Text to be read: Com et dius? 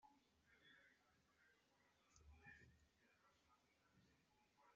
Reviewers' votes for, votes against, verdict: 0, 2, rejected